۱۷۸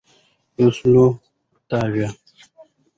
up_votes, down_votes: 0, 2